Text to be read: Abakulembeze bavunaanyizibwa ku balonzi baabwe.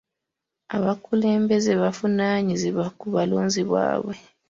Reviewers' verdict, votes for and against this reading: rejected, 0, 2